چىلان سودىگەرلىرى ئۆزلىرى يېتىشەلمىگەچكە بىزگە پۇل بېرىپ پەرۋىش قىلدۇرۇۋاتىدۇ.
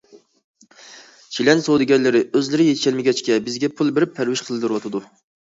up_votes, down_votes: 2, 0